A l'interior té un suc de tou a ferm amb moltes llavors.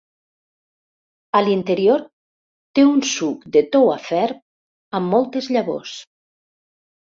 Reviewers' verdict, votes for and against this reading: rejected, 1, 2